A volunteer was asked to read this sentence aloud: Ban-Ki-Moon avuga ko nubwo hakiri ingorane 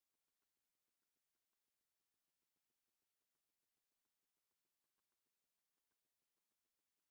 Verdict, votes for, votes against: rejected, 0, 2